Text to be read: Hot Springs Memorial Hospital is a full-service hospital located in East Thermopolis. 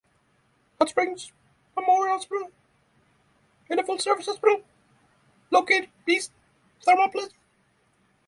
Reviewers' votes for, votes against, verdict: 3, 3, rejected